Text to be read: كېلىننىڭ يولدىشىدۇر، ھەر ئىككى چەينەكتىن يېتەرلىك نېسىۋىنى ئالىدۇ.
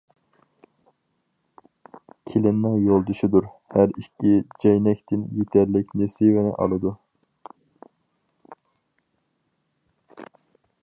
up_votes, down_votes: 0, 2